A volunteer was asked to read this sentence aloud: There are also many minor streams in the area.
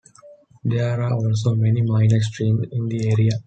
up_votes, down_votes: 0, 2